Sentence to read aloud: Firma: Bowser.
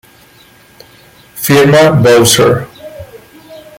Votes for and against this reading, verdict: 2, 0, accepted